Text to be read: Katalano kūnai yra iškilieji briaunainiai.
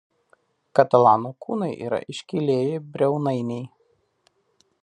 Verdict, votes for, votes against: accepted, 2, 0